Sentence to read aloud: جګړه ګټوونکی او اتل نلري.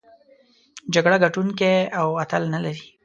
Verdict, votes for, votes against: accepted, 2, 0